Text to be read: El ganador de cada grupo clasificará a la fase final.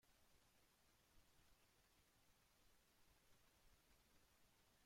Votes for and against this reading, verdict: 0, 2, rejected